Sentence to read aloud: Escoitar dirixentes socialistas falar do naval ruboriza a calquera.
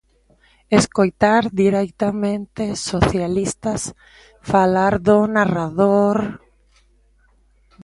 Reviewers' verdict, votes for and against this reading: rejected, 0, 2